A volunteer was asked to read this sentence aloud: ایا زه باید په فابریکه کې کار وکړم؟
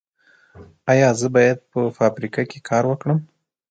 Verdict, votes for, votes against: rejected, 1, 2